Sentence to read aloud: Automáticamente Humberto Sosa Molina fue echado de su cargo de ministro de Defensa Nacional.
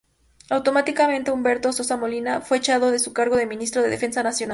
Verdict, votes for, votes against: rejected, 0, 2